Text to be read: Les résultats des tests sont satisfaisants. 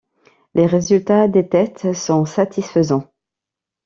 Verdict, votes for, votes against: accepted, 2, 0